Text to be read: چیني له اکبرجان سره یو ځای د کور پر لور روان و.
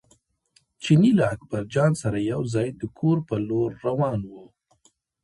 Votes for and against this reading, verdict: 0, 2, rejected